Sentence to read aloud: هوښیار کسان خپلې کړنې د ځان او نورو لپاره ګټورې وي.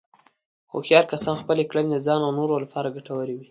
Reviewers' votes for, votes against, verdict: 2, 0, accepted